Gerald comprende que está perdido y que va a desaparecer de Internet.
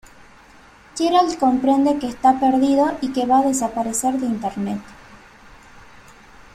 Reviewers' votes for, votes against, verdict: 2, 0, accepted